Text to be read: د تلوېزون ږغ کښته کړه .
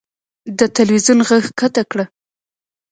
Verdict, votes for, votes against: accepted, 2, 0